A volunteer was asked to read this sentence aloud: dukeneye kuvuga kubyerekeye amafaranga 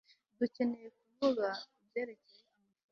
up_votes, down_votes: 0, 2